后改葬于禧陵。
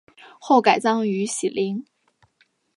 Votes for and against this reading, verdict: 6, 0, accepted